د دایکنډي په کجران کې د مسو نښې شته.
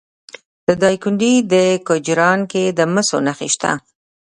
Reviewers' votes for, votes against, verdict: 2, 0, accepted